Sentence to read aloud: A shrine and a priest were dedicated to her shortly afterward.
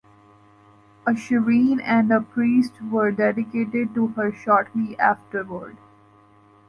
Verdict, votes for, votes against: rejected, 1, 2